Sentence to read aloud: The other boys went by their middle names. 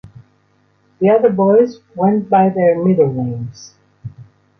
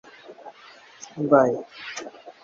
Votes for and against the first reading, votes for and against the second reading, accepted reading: 2, 0, 0, 2, first